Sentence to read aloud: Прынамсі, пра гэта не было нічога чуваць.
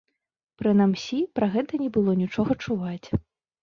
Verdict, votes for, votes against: rejected, 1, 2